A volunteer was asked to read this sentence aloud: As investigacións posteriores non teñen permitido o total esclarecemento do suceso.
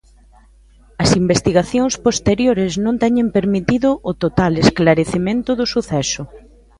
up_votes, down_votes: 2, 0